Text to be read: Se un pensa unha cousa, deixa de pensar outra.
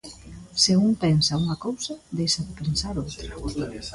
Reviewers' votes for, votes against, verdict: 2, 0, accepted